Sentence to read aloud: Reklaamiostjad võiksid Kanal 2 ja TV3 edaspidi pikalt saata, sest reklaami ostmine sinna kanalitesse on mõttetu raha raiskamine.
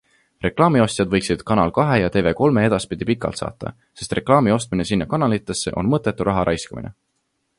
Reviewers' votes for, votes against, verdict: 0, 2, rejected